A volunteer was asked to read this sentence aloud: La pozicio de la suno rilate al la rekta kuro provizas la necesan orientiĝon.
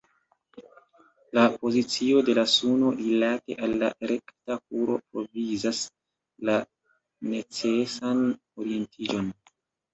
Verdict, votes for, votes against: rejected, 0, 2